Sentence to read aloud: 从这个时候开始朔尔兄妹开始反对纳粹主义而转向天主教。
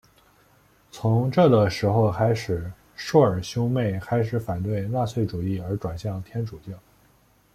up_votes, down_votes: 2, 0